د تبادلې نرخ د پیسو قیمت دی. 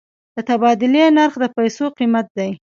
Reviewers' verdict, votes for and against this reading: rejected, 1, 2